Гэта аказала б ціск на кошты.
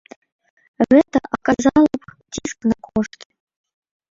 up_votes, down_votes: 0, 2